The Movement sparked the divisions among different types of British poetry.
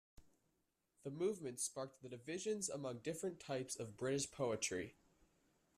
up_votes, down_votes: 2, 0